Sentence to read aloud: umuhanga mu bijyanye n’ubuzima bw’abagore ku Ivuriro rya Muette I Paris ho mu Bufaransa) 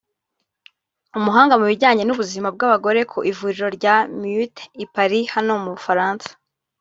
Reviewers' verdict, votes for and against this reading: rejected, 1, 2